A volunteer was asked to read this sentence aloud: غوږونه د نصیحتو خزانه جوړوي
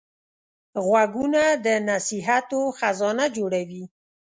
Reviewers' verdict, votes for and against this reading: accepted, 2, 0